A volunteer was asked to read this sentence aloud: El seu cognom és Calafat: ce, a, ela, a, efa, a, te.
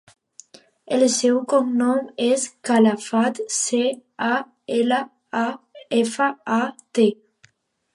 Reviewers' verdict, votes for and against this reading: accepted, 2, 0